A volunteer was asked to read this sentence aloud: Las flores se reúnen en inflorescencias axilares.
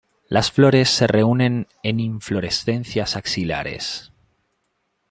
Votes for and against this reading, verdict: 2, 0, accepted